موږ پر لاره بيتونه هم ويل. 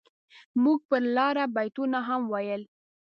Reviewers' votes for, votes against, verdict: 2, 0, accepted